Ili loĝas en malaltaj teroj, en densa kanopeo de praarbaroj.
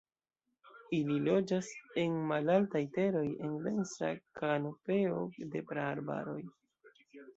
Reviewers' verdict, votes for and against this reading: rejected, 0, 2